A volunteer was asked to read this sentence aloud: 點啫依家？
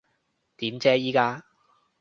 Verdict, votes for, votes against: accepted, 2, 0